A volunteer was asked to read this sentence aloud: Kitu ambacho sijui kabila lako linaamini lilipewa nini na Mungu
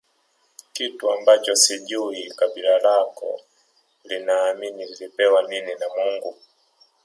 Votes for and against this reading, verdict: 2, 0, accepted